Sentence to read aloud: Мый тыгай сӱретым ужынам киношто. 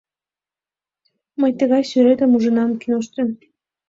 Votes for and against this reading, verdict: 2, 0, accepted